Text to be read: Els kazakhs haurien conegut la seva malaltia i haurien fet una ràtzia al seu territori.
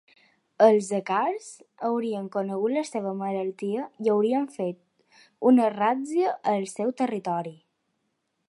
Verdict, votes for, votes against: rejected, 0, 2